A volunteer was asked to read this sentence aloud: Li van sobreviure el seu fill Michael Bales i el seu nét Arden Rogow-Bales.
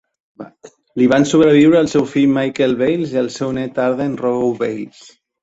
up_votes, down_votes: 2, 1